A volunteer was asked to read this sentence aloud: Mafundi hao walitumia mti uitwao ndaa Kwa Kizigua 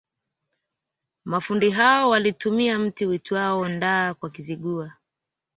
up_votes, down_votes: 3, 0